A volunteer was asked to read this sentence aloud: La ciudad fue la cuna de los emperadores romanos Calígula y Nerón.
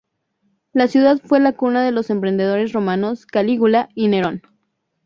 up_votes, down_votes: 0, 2